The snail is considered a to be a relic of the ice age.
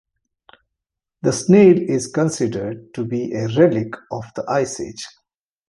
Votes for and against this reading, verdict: 2, 1, accepted